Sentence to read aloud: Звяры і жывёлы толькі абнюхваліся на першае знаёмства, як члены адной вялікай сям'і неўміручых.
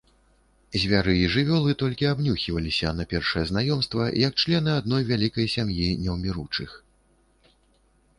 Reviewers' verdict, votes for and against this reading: rejected, 0, 2